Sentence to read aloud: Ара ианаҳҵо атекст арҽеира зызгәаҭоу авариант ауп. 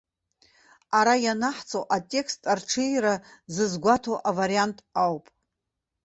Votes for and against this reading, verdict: 2, 0, accepted